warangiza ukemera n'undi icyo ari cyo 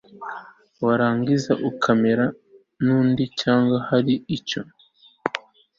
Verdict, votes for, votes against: rejected, 1, 2